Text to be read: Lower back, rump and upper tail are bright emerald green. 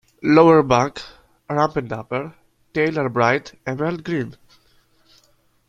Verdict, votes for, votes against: accepted, 2, 0